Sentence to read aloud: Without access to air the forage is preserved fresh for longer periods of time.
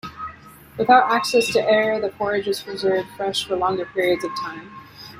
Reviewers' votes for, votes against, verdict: 1, 2, rejected